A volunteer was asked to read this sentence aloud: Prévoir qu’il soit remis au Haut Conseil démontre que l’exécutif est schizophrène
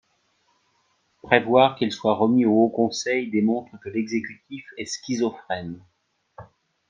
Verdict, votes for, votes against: rejected, 0, 2